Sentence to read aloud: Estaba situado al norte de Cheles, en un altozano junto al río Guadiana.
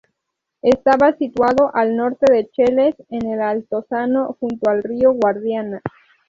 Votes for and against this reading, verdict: 0, 2, rejected